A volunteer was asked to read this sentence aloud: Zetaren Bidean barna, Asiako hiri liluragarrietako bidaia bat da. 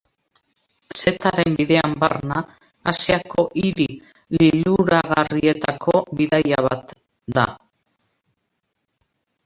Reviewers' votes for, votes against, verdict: 0, 2, rejected